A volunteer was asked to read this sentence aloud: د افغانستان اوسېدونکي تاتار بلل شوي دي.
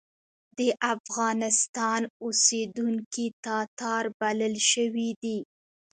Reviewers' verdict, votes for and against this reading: accepted, 2, 1